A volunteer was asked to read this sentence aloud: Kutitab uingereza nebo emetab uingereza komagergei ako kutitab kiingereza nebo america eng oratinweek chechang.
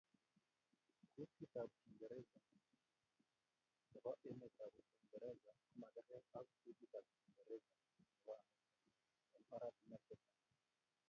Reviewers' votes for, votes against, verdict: 0, 2, rejected